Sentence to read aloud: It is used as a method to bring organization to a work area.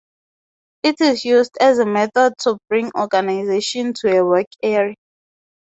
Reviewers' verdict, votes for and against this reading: accepted, 2, 0